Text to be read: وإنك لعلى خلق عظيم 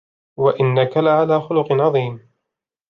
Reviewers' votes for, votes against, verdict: 2, 0, accepted